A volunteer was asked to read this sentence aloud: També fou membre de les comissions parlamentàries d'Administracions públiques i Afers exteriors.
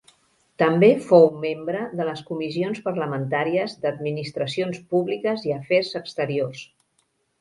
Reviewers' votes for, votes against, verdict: 1, 2, rejected